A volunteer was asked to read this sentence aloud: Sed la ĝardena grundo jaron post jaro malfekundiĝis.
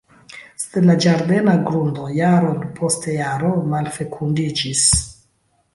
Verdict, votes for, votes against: rejected, 1, 2